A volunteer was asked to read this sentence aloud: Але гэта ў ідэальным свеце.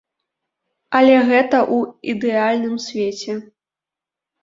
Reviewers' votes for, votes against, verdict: 2, 0, accepted